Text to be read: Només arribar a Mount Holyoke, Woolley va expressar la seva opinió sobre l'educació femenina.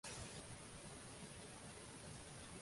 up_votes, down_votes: 0, 2